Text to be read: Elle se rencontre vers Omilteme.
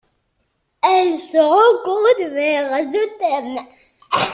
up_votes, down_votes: 0, 2